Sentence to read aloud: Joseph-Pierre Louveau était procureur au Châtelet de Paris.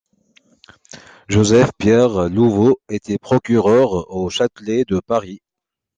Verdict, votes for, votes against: accepted, 2, 0